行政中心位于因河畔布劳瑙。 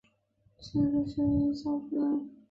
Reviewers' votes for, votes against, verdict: 1, 4, rejected